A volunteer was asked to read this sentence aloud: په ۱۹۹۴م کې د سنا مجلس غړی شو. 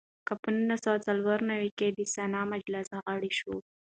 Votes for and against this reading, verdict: 0, 2, rejected